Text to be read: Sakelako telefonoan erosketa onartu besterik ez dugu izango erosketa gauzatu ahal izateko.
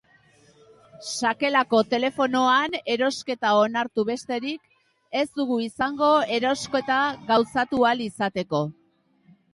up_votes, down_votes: 2, 0